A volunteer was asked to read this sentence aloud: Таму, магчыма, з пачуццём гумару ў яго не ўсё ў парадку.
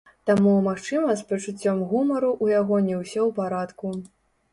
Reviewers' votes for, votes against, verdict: 0, 2, rejected